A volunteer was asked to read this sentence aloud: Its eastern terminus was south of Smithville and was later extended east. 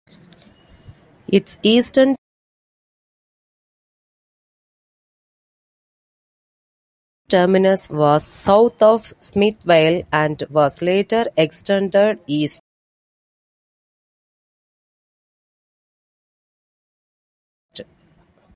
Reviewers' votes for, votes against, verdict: 0, 2, rejected